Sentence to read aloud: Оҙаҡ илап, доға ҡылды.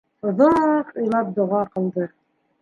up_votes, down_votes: 2, 0